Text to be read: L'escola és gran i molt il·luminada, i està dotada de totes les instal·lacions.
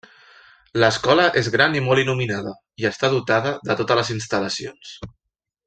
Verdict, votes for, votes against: rejected, 0, 2